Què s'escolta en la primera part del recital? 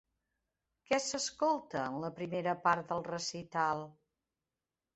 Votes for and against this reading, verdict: 3, 0, accepted